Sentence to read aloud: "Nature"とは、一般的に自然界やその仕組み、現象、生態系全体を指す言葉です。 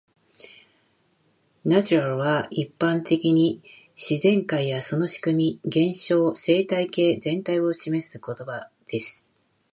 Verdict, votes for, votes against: rejected, 1, 2